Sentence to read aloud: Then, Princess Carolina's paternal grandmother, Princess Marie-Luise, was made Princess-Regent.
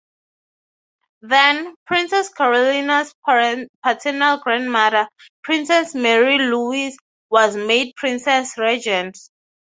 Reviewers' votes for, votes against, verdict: 3, 3, rejected